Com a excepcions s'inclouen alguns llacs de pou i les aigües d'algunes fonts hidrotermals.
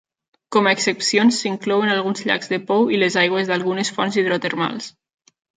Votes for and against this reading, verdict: 3, 0, accepted